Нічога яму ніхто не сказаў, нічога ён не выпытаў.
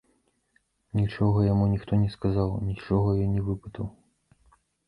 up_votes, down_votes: 2, 1